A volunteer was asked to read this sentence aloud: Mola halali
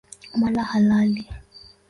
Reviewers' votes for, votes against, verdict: 2, 1, accepted